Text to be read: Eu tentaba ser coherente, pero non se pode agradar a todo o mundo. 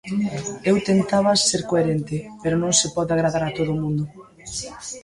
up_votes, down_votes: 2, 0